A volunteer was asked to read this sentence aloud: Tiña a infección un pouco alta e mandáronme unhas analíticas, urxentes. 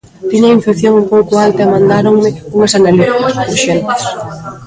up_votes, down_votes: 0, 2